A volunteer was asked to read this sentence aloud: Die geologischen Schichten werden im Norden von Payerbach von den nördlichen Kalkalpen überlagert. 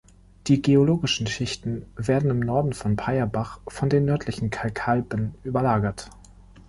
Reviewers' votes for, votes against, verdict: 1, 2, rejected